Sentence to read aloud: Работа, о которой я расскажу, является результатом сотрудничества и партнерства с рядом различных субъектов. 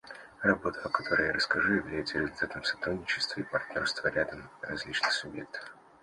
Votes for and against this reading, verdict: 1, 2, rejected